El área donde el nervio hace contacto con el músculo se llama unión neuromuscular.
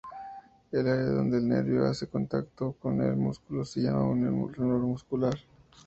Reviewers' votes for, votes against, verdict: 0, 4, rejected